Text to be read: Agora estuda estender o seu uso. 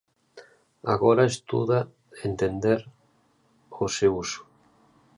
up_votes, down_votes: 0, 2